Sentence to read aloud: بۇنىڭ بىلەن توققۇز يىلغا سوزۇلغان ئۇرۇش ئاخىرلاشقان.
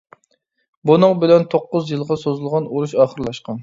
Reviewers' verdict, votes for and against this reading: accepted, 2, 0